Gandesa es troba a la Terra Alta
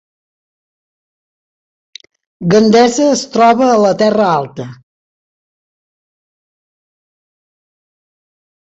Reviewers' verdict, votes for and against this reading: accepted, 3, 0